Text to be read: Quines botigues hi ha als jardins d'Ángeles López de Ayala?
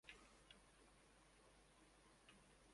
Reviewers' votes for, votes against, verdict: 0, 2, rejected